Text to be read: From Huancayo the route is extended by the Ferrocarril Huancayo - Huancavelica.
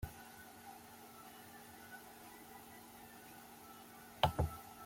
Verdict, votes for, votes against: rejected, 0, 2